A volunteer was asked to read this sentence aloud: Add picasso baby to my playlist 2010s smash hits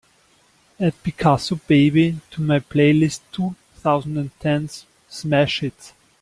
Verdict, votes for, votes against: rejected, 0, 2